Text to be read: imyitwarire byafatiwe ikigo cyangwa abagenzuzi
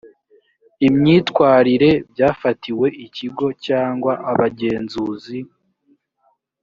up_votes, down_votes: 1, 2